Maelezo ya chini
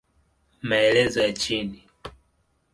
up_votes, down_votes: 12, 0